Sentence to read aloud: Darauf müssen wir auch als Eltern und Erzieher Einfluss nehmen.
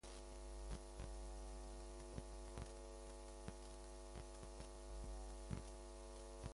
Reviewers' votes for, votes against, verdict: 0, 2, rejected